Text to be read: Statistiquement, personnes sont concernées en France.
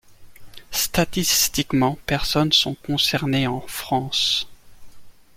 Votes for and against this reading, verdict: 2, 0, accepted